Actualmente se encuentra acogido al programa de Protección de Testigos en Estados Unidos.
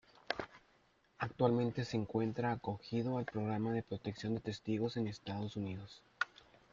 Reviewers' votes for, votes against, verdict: 2, 0, accepted